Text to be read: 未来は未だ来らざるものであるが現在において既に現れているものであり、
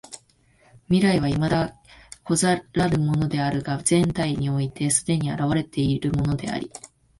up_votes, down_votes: 1, 2